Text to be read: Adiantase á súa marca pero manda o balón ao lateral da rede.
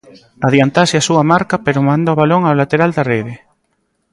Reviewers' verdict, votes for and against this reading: rejected, 1, 2